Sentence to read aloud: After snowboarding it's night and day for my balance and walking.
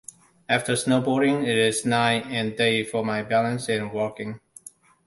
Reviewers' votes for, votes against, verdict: 1, 2, rejected